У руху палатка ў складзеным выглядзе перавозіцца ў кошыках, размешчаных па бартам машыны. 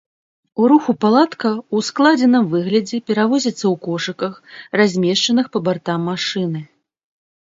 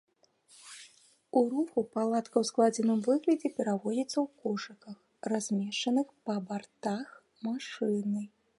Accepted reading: first